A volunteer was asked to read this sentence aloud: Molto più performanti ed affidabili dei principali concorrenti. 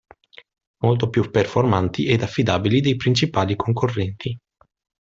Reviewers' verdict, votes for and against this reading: accepted, 2, 1